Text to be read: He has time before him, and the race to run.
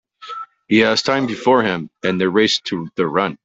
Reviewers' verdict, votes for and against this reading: rejected, 0, 2